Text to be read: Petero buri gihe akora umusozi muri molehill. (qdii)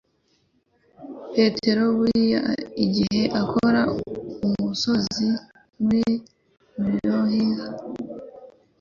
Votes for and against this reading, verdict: 1, 2, rejected